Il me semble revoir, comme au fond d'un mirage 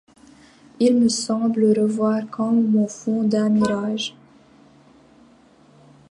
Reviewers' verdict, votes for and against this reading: accepted, 2, 0